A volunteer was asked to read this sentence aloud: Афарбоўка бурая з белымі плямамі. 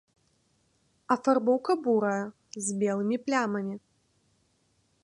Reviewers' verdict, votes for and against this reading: accepted, 2, 0